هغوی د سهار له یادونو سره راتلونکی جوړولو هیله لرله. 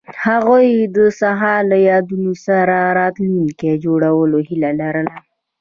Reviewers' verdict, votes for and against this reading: rejected, 0, 2